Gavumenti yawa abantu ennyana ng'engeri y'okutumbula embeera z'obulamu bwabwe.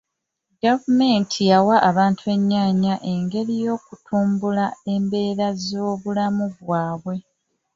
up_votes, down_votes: 1, 2